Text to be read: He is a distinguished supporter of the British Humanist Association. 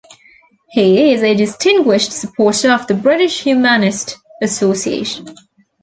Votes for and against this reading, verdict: 2, 1, accepted